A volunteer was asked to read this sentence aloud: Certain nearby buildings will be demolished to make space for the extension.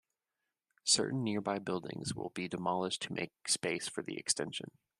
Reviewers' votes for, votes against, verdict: 2, 0, accepted